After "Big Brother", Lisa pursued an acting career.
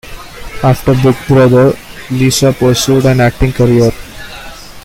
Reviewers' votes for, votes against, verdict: 2, 1, accepted